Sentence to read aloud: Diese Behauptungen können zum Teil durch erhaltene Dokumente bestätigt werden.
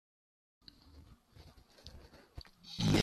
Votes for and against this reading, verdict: 0, 2, rejected